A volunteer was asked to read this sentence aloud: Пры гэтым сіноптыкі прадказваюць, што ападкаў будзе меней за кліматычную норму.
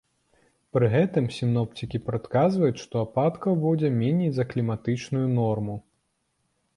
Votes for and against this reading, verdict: 1, 2, rejected